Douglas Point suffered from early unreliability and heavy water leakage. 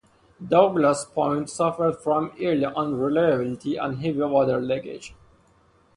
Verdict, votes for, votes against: rejected, 2, 2